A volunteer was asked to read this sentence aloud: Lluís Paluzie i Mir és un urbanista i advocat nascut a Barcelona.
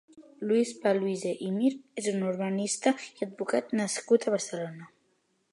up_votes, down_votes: 2, 0